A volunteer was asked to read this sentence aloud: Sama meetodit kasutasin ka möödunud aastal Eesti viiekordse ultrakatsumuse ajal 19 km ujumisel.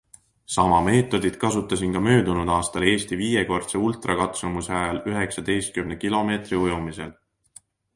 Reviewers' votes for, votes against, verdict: 0, 2, rejected